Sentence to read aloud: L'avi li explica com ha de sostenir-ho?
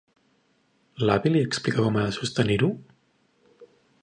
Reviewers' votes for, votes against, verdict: 2, 2, rejected